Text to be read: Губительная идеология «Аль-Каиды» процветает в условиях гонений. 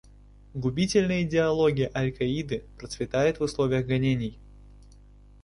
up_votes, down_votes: 2, 1